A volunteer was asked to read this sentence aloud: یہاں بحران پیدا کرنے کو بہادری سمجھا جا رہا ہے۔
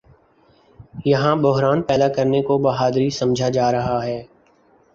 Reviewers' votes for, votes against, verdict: 2, 0, accepted